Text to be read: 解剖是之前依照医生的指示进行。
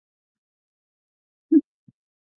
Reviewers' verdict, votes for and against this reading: rejected, 0, 2